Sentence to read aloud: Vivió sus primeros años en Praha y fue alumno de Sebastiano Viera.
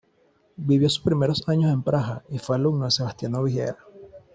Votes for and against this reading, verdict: 1, 2, rejected